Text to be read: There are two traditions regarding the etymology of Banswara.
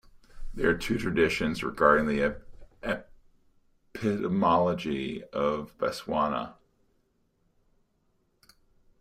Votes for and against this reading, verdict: 0, 2, rejected